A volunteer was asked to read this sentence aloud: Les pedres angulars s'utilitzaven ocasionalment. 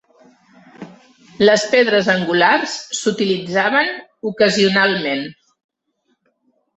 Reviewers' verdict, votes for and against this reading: accepted, 3, 0